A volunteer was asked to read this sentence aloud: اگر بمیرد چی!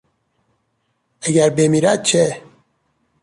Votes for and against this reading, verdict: 1, 2, rejected